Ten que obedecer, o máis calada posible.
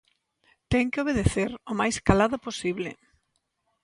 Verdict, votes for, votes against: accepted, 2, 0